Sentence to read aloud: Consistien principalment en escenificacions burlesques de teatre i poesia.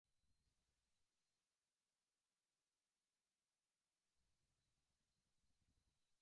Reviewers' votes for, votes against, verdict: 0, 2, rejected